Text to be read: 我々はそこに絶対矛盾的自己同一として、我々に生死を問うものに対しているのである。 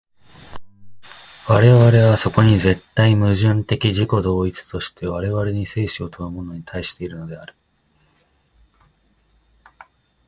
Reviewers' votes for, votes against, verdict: 0, 2, rejected